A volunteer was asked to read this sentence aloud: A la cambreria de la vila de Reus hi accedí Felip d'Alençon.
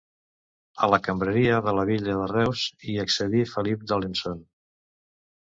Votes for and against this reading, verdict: 0, 2, rejected